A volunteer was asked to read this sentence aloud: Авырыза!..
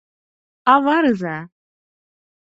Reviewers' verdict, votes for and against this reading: rejected, 2, 4